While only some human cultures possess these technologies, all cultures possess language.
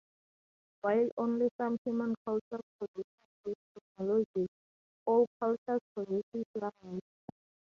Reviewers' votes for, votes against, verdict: 0, 2, rejected